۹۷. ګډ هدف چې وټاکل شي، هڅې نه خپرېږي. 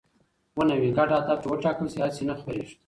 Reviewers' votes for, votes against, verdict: 0, 2, rejected